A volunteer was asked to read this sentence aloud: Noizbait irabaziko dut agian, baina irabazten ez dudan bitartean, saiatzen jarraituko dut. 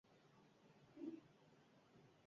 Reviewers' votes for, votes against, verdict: 0, 2, rejected